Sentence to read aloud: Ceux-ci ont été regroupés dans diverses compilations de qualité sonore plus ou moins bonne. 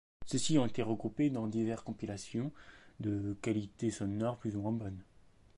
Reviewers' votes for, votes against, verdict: 1, 2, rejected